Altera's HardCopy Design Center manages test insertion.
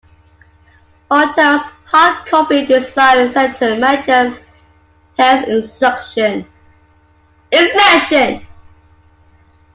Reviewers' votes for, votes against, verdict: 0, 2, rejected